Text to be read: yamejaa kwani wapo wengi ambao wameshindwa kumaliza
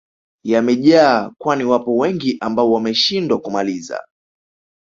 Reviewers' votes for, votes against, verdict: 2, 0, accepted